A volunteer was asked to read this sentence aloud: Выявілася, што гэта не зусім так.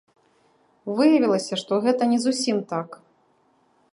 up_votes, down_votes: 2, 0